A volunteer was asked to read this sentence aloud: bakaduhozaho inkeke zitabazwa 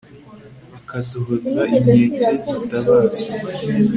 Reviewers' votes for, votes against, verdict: 2, 0, accepted